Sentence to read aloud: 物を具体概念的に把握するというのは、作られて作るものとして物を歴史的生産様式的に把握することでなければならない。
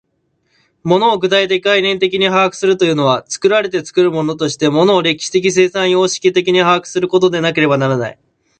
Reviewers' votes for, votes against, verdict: 1, 2, rejected